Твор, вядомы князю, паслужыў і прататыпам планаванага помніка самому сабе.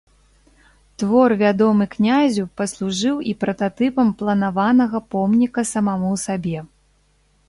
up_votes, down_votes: 1, 2